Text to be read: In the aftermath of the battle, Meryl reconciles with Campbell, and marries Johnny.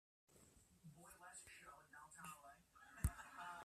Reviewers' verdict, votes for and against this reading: rejected, 0, 2